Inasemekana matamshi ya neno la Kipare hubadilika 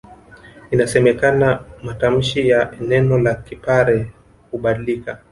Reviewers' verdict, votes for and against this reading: accepted, 3, 1